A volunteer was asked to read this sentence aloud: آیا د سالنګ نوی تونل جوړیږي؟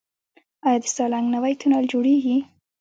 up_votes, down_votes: 2, 0